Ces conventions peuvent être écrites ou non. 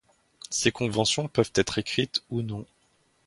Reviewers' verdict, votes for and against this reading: accepted, 2, 0